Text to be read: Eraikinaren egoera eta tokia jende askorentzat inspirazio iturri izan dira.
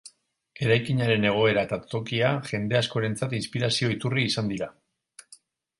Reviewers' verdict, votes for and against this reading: accepted, 2, 0